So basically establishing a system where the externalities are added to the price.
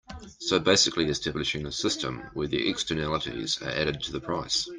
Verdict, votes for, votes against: accepted, 2, 0